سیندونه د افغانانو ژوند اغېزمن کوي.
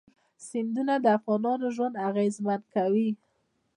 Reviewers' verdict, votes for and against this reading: accepted, 2, 0